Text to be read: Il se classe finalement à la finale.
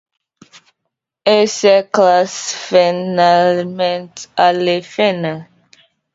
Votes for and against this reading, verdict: 2, 1, accepted